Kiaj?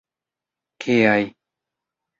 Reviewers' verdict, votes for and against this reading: rejected, 1, 2